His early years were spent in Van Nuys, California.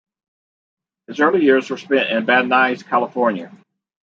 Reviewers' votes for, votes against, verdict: 2, 0, accepted